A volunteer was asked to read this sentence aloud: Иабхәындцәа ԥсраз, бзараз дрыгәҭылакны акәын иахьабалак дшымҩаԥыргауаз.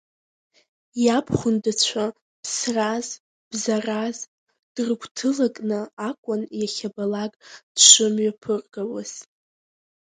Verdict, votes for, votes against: accepted, 2, 1